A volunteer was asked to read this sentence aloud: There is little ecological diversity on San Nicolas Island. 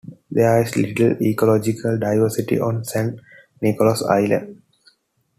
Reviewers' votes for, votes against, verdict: 2, 0, accepted